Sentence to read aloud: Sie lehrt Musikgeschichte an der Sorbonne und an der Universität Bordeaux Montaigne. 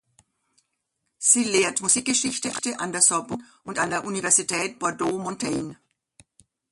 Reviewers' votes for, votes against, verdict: 0, 2, rejected